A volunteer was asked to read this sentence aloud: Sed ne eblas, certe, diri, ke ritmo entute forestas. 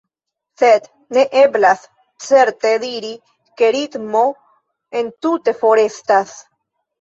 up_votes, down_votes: 0, 2